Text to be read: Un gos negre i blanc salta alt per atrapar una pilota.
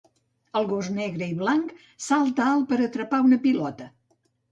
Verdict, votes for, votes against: rejected, 0, 2